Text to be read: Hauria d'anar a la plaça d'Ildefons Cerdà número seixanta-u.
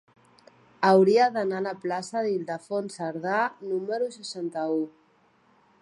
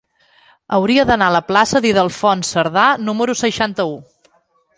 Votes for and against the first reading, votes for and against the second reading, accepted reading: 5, 0, 1, 2, first